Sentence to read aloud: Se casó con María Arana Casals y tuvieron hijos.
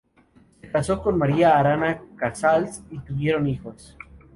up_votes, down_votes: 2, 0